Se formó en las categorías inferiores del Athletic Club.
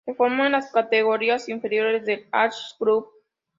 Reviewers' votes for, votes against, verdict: 0, 2, rejected